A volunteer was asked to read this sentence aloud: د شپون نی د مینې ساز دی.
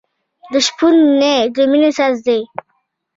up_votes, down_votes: 2, 1